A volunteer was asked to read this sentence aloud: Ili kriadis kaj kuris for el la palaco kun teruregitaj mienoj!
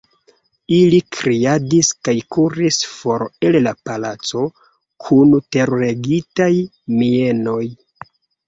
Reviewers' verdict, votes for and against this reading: accepted, 2, 1